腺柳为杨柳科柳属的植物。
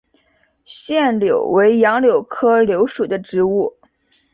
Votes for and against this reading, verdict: 4, 0, accepted